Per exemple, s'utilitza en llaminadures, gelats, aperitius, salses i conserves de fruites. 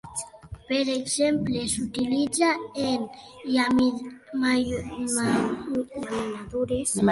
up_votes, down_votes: 1, 2